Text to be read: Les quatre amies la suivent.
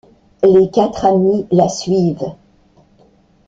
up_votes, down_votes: 2, 0